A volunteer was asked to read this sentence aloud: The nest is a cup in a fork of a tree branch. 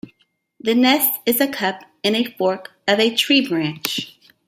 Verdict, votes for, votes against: accepted, 2, 0